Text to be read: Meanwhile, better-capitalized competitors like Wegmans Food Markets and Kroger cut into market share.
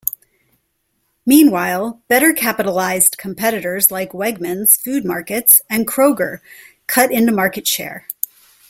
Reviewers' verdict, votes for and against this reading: accepted, 2, 0